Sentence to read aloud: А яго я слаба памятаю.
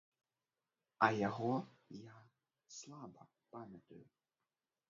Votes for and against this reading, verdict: 0, 2, rejected